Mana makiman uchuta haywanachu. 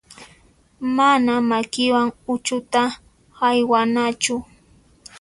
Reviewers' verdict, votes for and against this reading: accepted, 2, 0